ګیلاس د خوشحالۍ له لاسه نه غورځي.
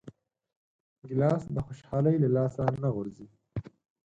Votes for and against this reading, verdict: 4, 0, accepted